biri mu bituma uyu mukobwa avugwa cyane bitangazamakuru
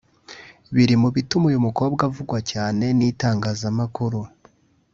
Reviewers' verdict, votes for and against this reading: rejected, 1, 2